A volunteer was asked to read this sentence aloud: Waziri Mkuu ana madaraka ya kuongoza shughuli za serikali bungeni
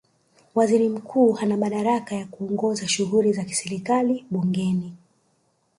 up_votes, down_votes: 1, 2